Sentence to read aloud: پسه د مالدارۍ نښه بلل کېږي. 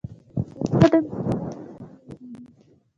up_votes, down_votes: 1, 2